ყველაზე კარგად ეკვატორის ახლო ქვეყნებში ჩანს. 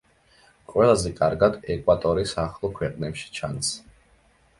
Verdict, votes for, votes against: accepted, 2, 0